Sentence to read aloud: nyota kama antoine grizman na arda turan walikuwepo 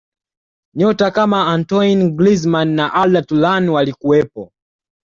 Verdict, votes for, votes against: accepted, 2, 0